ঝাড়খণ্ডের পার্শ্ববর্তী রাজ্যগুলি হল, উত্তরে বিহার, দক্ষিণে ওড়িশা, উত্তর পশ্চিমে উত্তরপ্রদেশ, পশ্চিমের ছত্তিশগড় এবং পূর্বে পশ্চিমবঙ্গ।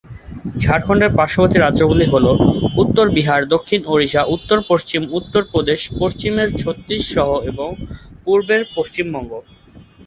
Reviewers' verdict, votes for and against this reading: rejected, 1, 3